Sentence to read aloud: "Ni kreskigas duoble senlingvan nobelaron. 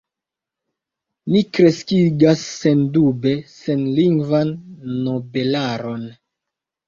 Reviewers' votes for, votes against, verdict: 2, 0, accepted